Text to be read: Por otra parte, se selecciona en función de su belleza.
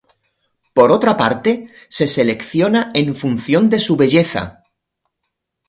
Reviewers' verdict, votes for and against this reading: accepted, 2, 0